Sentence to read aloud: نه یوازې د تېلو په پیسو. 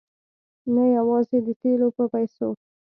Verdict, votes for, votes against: accepted, 2, 0